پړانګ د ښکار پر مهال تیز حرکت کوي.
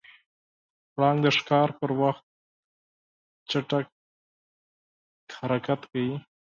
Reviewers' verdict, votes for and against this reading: rejected, 2, 4